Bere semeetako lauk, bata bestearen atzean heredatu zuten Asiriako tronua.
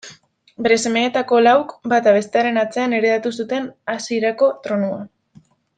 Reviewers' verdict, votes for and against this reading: rejected, 0, 2